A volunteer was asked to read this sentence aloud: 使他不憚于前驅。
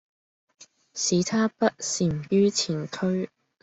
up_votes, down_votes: 1, 2